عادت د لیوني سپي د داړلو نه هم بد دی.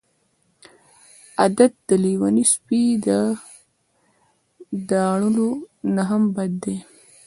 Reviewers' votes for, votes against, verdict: 1, 2, rejected